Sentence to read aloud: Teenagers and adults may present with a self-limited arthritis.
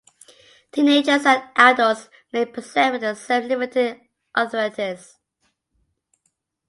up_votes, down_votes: 2, 2